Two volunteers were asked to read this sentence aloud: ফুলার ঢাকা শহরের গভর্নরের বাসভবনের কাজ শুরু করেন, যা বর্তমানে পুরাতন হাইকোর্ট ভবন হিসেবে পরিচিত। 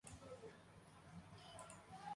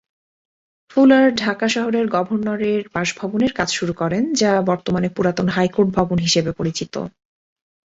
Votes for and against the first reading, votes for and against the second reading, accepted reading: 0, 2, 6, 2, second